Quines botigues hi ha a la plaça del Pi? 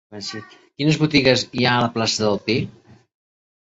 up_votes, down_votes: 2, 0